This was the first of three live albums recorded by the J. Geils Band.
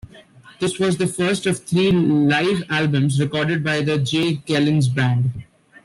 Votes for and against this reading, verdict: 1, 2, rejected